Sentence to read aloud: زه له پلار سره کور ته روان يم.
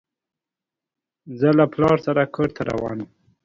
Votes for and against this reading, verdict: 2, 0, accepted